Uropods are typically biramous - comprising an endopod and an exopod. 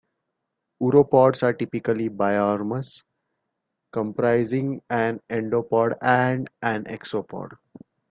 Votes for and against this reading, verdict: 1, 2, rejected